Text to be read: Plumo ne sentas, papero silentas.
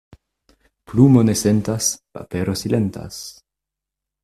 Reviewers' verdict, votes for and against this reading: accepted, 2, 0